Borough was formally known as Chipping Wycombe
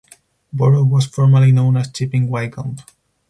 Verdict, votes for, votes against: rejected, 2, 2